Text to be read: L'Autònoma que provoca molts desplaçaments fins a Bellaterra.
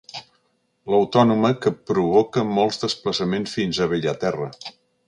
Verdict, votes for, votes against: accepted, 2, 0